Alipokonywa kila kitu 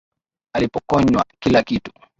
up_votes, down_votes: 5, 1